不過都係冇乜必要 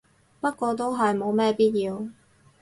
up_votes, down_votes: 0, 2